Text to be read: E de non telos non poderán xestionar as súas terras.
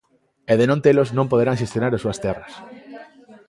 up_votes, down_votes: 2, 0